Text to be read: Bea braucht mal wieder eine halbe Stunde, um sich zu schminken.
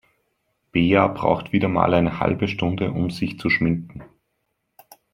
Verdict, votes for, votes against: rejected, 2, 3